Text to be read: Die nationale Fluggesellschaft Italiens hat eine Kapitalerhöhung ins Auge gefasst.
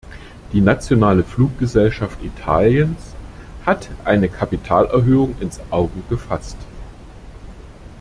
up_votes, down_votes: 2, 0